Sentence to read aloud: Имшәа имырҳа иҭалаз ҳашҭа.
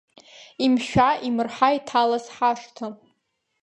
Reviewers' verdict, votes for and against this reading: accepted, 2, 0